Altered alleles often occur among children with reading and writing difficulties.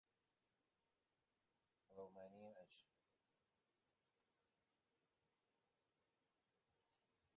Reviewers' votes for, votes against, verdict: 0, 2, rejected